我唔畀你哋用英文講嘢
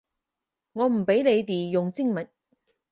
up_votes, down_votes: 0, 4